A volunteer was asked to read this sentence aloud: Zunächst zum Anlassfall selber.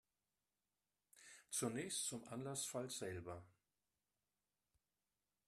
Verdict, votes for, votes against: rejected, 1, 2